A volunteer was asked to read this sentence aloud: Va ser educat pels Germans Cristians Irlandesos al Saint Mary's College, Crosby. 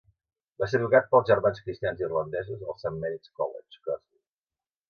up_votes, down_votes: 1, 2